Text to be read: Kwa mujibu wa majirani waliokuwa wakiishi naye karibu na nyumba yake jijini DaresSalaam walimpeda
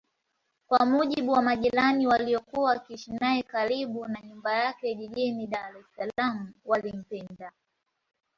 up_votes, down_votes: 2, 0